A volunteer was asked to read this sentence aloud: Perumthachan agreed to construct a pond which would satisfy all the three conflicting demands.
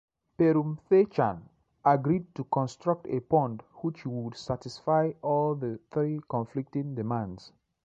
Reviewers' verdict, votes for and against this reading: accepted, 2, 0